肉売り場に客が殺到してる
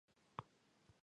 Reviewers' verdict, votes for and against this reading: rejected, 0, 3